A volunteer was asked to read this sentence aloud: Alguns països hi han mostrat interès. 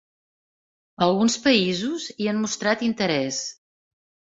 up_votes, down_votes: 3, 0